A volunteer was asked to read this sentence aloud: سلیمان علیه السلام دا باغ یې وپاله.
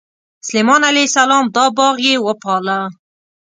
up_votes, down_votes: 2, 0